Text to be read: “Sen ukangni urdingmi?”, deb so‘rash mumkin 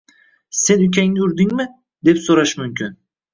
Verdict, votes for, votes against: accepted, 2, 0